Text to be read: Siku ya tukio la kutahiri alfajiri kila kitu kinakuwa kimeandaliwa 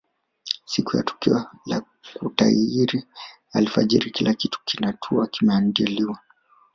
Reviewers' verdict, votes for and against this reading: rejected, 1, 2